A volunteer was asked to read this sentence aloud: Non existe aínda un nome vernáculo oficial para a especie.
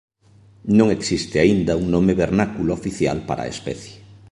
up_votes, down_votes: 2, 0